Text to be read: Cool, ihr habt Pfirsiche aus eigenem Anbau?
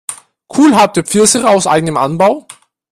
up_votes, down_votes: 1, 2